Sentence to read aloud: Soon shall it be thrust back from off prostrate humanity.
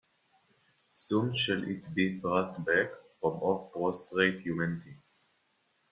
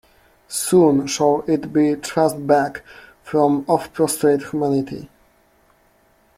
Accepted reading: first